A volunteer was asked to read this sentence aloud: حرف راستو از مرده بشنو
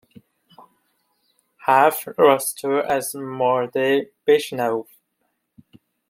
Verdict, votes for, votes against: rejected, 0, 2